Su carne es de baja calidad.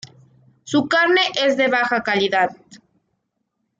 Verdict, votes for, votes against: accepted, 2, 0